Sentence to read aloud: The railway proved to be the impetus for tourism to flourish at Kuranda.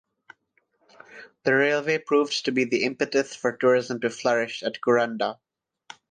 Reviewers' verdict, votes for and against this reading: accepted, 6, 0